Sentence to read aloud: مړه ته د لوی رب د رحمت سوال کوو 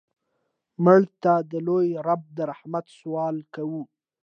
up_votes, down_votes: 2, 0